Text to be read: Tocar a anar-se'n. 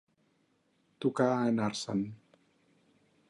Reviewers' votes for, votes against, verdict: 4, 0, accepted